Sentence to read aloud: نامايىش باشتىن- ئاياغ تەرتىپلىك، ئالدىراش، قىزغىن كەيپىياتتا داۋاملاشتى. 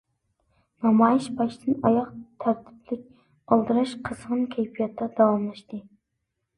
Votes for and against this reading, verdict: 2, 0, accepted